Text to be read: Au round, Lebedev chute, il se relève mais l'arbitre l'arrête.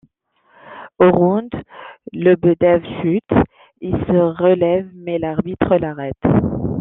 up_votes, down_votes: 0, 2